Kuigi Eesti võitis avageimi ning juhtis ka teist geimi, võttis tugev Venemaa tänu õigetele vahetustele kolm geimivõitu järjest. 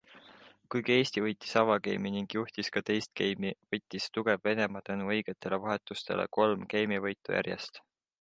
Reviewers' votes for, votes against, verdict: 2, 0, accepted